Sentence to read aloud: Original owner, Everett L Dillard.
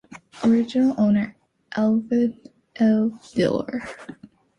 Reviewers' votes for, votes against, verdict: 2, 1, accepted